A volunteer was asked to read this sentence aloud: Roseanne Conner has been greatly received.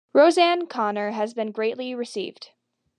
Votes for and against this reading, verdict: 2, 0, accepted